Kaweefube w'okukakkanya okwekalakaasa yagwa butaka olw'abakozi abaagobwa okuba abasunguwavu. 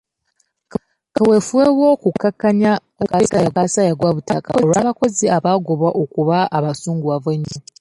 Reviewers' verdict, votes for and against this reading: rejected, 0, 2